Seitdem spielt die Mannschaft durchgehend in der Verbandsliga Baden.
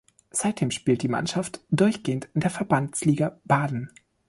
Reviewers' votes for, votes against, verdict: 2, 0, accepted